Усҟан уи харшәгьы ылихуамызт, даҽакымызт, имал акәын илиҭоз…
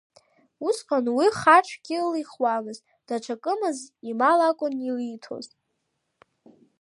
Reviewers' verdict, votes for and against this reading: rejected, 1, 2